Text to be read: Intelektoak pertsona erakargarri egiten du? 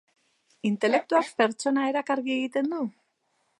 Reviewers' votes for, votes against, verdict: 2, 1, accepted